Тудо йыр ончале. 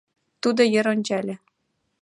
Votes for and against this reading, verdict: 2, 0, accepted